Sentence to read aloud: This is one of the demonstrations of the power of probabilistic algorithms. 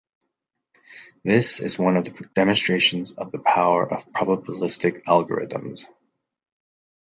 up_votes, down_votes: 2, 1